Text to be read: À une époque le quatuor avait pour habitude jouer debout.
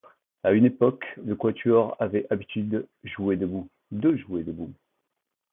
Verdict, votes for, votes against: rejected, 0, 2